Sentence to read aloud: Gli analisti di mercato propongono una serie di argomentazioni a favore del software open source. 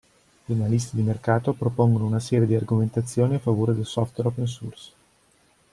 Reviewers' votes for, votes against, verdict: 0, 2, rejected